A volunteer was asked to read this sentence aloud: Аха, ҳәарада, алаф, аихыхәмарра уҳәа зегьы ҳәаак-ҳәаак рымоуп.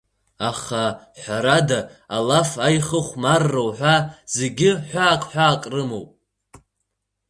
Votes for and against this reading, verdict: 4, 0, accepted